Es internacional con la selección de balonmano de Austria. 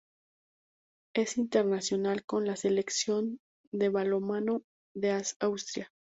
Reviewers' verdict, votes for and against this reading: rejected, 0, 2